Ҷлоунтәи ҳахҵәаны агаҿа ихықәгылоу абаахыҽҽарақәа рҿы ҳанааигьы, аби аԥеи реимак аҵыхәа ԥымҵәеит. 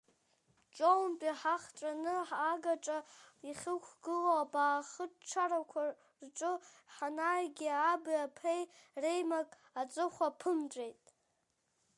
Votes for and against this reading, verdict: 1, 2, rejected